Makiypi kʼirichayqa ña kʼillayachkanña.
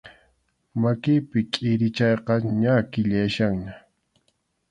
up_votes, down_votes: 2, 0